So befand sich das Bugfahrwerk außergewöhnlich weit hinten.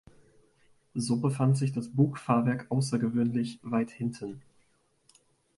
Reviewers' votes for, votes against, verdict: 2, 0, accepted